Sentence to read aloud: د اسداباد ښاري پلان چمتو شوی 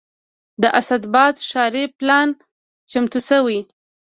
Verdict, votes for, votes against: rejected, 0, 2